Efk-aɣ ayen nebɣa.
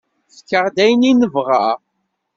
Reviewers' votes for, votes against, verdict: 2, 0, accepted